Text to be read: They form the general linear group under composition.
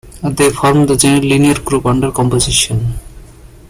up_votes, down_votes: 1, 2